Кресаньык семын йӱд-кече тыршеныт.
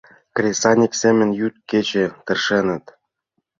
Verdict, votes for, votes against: accepted, 2, 0